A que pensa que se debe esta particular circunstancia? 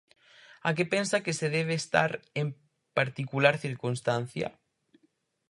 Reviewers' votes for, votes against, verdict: 0, 4, rejected